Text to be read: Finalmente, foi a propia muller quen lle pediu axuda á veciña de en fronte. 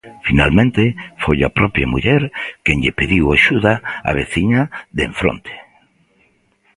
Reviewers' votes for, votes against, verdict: 2, 0, accepted